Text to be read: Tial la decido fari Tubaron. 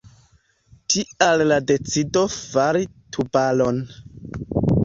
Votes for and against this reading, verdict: 2, 0, accepted